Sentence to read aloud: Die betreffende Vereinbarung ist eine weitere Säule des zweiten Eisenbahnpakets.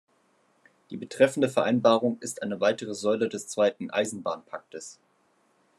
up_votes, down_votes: 0, 2